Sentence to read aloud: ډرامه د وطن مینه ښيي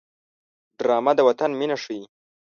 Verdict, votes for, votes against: accepted, 2, 0